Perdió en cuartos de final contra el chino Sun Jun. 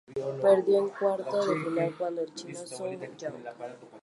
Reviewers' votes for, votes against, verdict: 0, 4, rejected